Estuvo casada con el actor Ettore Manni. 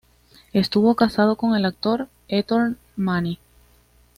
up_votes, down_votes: 2, 0